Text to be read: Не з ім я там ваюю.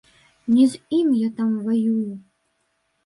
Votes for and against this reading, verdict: 1, 3, rejected